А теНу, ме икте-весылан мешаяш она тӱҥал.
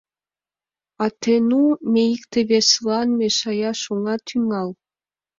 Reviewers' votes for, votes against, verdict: 3, 0, accepted